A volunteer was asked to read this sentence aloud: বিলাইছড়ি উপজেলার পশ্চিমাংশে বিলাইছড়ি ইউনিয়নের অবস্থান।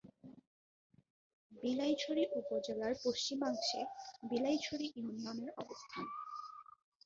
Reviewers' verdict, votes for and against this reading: rejected, 0, 2